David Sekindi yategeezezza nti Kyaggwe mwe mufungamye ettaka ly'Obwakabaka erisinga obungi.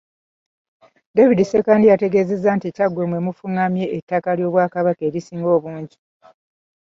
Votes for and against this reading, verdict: 1, 2, rejected